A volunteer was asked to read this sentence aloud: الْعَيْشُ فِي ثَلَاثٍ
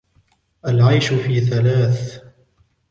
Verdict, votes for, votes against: accepted, 2, 0